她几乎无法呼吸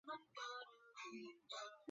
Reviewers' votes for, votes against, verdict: 2, 5, rejected